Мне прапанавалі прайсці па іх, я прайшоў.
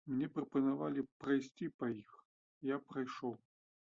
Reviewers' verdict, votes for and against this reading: accepted, 2, 0